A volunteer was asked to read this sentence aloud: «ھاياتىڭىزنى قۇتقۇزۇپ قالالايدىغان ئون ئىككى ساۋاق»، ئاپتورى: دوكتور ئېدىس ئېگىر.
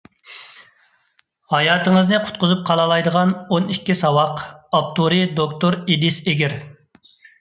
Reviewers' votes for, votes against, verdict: 2, 0, accepted